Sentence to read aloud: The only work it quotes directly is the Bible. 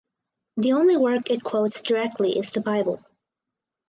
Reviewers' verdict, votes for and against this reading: accepted, 4, 0